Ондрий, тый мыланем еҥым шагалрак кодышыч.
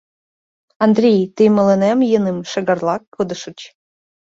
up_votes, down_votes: 1, 2